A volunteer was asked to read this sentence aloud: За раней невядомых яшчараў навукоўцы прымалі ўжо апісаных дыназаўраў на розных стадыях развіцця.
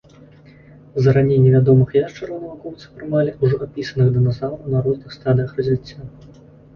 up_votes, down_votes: 2, 0